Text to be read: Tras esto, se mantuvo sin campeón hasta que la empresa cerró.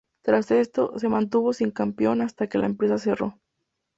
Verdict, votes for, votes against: rejected, 2, 2